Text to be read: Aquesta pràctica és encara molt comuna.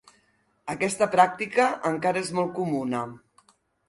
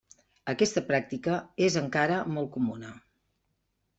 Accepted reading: second